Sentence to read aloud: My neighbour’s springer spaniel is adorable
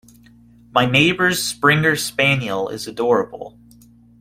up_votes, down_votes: 2, 0